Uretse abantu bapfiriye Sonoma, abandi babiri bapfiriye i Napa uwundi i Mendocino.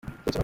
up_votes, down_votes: 0, 2